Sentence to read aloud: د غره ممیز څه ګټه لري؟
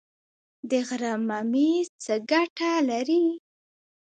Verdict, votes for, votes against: accepted, 2, 1